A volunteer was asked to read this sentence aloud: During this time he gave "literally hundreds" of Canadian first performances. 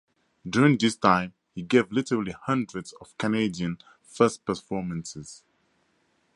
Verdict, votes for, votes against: accepted, 2, 0